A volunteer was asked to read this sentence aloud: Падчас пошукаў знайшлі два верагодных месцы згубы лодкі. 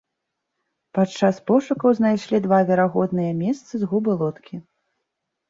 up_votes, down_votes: 1, 2